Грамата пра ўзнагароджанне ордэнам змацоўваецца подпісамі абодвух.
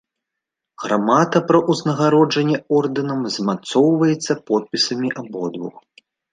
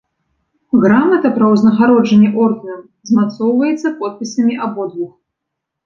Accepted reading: second